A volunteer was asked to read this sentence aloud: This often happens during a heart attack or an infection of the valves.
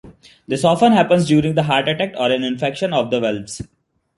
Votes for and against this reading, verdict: 2, 0, accepted